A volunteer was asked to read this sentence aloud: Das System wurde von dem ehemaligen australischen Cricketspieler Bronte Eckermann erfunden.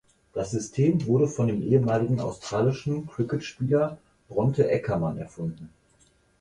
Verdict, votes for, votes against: accepted, 4, 0